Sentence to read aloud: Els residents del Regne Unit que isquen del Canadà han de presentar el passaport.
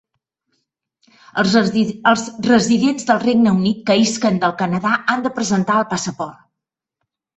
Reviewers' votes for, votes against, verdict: 0, 2, rejected